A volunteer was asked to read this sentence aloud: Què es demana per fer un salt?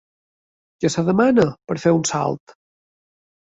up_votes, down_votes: 2, 0